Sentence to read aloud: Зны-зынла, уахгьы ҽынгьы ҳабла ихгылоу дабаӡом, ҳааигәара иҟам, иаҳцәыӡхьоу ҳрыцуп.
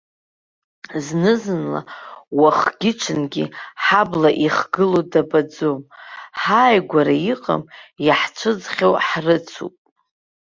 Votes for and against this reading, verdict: 4, 0, accepted